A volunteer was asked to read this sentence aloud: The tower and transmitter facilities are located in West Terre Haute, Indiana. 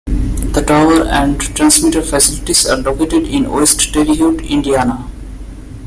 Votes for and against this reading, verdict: 3, 0, accepted